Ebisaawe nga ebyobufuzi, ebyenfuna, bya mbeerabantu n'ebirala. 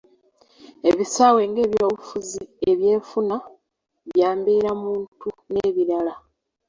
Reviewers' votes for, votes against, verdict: 2, 1, accepted